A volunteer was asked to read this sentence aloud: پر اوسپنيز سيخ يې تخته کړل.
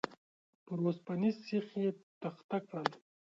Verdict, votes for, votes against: accepted, 2, 0